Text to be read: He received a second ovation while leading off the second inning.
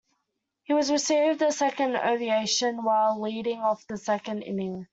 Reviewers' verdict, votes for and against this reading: rejected, 1, 2